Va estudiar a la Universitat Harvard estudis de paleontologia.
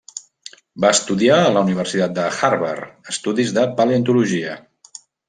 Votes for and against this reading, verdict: 0, 2, rejected